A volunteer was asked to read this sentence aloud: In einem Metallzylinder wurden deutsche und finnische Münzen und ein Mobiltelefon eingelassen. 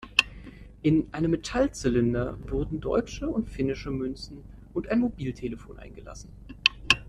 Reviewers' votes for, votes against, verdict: 2, 0, accepted